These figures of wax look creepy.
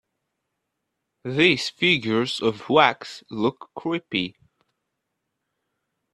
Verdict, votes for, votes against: accepted, 2, 0